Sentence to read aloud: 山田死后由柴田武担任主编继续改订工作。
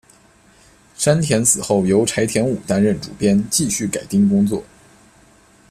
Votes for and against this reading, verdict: 1, 2, rejected